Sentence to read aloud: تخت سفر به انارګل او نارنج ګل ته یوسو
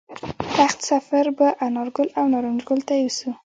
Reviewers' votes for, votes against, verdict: 2, 0, accepted